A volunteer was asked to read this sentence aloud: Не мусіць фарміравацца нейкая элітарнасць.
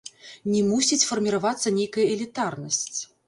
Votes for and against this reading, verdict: 1, 2, rejected